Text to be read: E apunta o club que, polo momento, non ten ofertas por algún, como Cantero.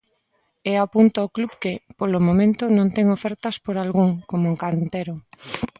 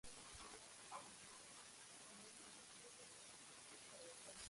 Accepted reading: first